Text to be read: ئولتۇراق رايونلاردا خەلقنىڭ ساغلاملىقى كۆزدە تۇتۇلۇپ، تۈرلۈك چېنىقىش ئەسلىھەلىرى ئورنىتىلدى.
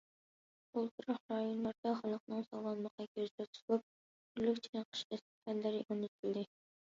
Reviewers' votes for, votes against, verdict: 0, 2, rejected